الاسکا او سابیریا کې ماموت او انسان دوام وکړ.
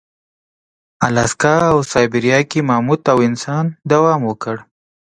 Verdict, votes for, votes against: accepted, 2, 0